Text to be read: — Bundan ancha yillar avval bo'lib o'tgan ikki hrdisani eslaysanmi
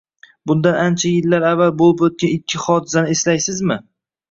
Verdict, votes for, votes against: rejected, 1, 2